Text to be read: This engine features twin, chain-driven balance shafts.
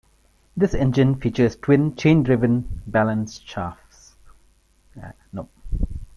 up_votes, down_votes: 2, 1